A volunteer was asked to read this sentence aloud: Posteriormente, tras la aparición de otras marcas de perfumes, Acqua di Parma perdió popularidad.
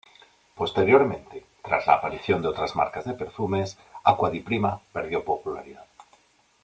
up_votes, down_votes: 0, 2